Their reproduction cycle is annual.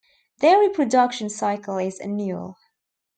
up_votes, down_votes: 1, 2